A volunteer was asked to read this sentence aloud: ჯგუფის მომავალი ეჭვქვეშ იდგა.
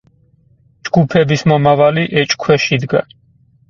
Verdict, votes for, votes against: rejected, 0, 4